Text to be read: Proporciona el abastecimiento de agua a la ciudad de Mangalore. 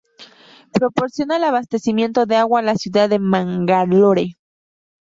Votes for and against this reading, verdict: 0, 2, rejected